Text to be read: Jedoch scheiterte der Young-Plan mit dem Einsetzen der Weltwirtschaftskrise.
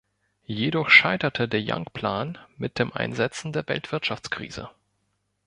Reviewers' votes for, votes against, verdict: 0, 2, rejected